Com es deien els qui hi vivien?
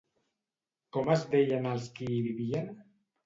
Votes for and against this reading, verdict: 2, 0, accepted